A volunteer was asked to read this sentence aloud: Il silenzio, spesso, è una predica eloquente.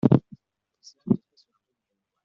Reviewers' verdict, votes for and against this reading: rejected, 0, 2